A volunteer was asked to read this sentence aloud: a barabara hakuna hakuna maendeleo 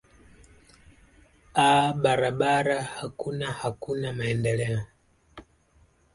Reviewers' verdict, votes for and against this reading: rejected, 1, 2